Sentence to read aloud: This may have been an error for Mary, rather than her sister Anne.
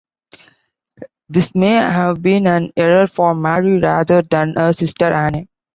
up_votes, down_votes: 2, 0